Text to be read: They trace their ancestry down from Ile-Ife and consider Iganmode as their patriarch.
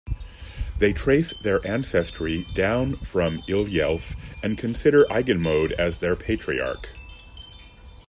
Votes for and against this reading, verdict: 2, 0, accepted